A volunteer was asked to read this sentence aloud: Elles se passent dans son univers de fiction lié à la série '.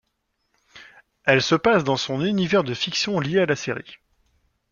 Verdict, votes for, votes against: accepted, 2, 0